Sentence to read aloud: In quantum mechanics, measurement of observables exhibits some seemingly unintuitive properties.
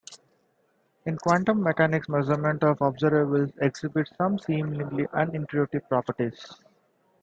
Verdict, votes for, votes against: accepted, 2, 0